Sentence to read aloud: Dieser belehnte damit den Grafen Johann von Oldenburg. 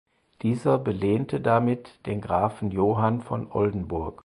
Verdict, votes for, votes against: accepted, 4, 0